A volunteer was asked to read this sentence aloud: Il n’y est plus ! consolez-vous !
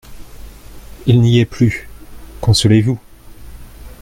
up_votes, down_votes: 0, 2